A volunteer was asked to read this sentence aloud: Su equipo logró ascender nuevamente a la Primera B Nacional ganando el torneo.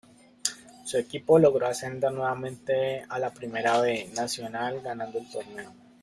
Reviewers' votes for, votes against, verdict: 2, 0, accepted